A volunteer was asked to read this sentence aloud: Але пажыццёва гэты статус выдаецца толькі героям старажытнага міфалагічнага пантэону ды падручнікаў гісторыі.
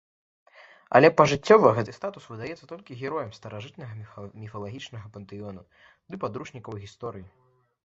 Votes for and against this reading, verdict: 1, 2, rejected